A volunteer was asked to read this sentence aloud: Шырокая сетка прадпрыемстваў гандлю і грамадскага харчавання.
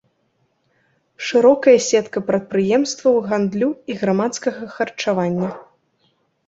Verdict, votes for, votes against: rejected, 0, 2